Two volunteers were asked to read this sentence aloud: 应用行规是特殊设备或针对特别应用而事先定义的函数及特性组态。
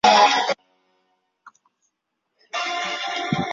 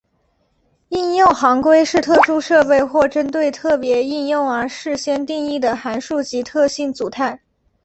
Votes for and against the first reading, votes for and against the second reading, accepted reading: 0, 2, 2, 1, second